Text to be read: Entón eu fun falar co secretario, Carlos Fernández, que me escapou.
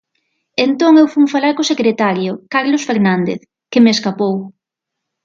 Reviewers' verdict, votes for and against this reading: accepted, 6, 0